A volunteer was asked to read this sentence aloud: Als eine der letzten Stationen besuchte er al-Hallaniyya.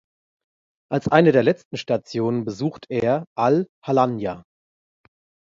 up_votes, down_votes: 1, 2